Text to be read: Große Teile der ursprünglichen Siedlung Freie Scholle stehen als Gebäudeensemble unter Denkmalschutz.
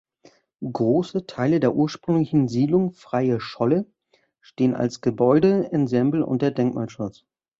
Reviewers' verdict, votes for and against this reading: rejected, 1, 2